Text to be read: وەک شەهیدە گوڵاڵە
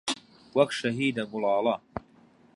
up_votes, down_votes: 2, 0